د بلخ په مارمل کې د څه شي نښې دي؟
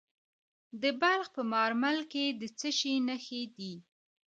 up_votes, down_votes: 0, 2